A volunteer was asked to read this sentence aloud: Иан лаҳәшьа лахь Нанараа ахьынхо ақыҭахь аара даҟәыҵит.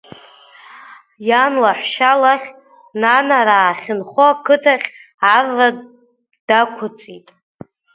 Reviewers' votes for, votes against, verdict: 1, 2, rejected